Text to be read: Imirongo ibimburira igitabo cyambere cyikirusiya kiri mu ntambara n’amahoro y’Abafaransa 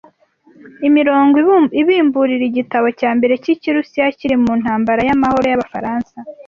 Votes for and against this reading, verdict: 0, 2, rejected